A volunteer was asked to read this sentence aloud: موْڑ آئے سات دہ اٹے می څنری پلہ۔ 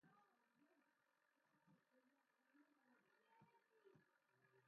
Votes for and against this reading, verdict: 0, 2, rejected